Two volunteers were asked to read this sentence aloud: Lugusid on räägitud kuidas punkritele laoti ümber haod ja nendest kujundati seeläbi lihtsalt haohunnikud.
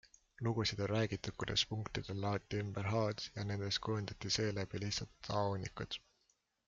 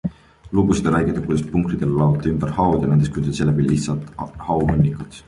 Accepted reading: first